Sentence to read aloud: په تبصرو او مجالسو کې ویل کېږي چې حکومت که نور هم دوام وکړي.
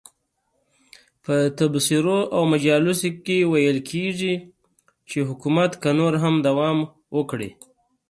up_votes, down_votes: 2, 0